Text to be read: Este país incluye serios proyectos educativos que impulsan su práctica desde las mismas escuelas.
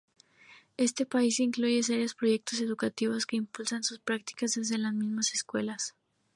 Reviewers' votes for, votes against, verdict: 2, 0, accepted